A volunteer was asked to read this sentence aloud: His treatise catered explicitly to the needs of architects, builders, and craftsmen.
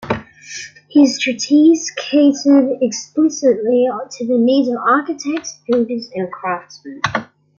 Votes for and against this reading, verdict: 2, 0, accepted